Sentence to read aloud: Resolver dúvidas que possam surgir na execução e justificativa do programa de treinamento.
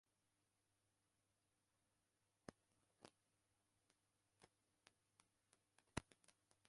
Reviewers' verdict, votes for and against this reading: rejected, 0, 2